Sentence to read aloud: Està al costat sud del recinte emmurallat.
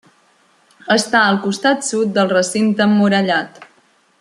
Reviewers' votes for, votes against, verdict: 2, 1, accepted